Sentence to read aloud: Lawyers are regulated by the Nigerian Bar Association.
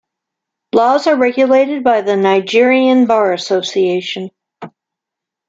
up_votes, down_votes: 1, 2